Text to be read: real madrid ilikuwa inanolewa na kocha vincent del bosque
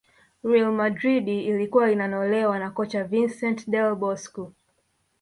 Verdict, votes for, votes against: rejected, 1, 2